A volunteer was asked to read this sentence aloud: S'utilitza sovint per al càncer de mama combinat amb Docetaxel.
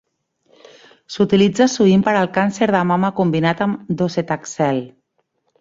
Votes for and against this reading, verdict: 3, 1, accepted